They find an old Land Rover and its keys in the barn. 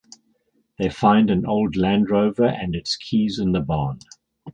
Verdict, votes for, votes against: accepted, 6, 0